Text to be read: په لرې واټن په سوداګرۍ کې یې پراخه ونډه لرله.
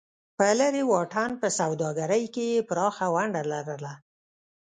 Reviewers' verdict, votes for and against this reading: rejected, 0, 2